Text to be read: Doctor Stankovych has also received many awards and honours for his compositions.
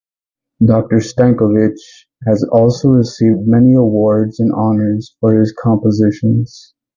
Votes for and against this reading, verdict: 4, 0, accepted